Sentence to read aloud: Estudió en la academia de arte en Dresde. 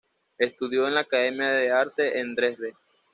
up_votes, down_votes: 1, 2